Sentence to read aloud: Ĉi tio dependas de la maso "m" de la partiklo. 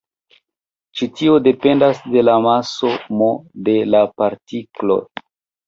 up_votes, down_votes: 2, 0